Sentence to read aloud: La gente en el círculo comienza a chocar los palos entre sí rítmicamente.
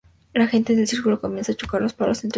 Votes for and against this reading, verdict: 0, 2, rejected